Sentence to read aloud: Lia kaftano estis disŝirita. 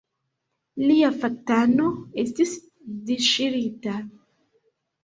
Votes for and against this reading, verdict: 1, 2, rejected